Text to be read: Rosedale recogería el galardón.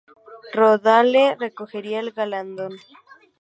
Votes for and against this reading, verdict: 2, 0, accepted